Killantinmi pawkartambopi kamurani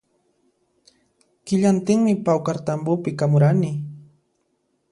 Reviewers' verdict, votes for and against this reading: accepted, 2, 0